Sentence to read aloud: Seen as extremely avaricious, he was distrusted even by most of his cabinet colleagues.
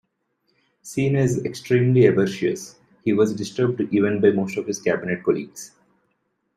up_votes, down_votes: 0, 2